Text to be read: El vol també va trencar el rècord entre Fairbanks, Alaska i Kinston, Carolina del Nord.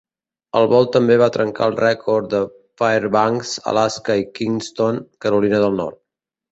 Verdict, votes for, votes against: rejected, 1, 2